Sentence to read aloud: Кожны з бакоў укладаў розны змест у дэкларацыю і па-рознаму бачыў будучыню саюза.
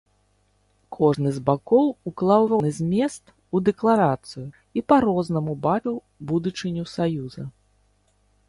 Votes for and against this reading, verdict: 1, 2, rejected